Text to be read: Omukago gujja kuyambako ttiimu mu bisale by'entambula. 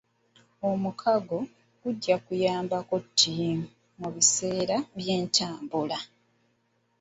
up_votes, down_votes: 1, 2